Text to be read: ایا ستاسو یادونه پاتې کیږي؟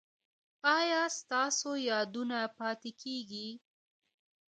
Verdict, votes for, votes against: rejected, 1, 2